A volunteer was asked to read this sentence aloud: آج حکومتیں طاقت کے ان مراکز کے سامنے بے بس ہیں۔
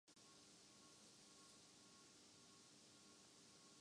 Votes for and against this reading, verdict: 0, 2, rejected